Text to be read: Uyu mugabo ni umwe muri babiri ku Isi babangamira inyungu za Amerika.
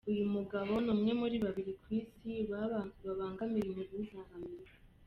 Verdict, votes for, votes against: rejected, 1, 2